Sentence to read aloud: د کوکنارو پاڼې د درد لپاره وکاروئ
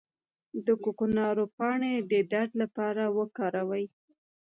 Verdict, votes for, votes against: rejected, 1, 2